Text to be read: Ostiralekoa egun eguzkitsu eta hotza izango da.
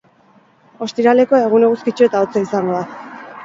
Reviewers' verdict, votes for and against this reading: rejected, 2, 2